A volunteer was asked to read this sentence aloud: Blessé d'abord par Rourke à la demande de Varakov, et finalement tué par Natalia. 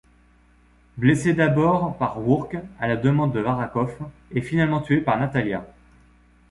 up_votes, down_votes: 2, 0